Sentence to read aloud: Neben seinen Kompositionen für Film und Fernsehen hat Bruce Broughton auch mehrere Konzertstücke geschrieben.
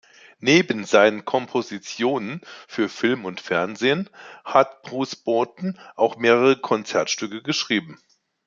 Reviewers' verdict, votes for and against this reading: accepted, 2, 0